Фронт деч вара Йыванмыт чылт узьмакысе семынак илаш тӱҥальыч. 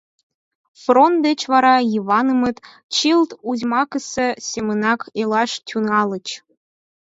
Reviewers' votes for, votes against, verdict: 4, 0, accepted